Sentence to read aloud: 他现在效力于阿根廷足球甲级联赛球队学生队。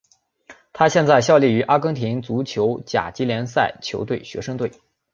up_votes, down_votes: 2, 1